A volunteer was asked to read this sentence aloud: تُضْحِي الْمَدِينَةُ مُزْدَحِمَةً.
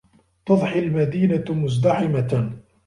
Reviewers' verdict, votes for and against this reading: accepted, 2, 0